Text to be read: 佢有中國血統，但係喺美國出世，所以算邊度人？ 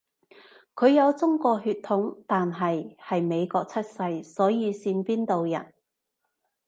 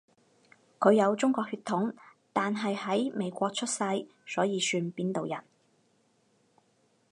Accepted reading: second